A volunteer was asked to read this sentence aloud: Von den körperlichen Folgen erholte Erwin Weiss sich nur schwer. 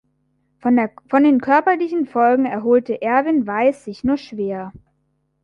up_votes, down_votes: 0, 2